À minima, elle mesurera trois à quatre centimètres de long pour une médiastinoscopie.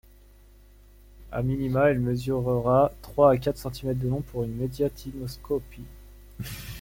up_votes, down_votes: 2, 1